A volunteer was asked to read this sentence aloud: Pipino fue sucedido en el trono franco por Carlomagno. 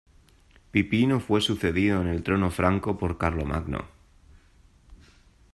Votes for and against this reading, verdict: 2, 0, accepted